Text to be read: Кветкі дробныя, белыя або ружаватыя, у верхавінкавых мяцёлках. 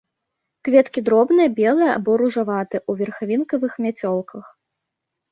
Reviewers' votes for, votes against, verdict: 2, 0, accepted